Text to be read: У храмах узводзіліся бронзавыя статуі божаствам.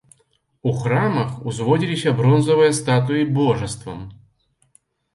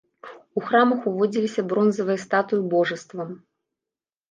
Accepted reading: first